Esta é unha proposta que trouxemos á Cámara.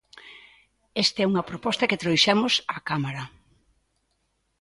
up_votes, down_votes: 1, 2